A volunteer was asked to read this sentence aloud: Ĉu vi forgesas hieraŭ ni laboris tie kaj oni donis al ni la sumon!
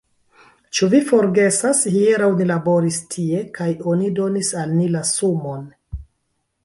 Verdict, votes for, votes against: rejected, 1, 2